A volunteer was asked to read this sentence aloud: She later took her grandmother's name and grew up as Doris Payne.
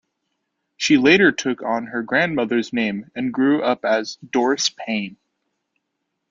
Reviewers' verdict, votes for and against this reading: rejected, 1, 2